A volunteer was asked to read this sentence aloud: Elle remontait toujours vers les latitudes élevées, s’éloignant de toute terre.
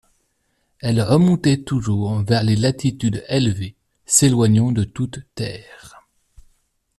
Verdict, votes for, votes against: accepted, 2, 0